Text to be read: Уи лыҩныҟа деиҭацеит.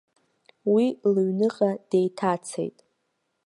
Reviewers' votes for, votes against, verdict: 2, 0, accepted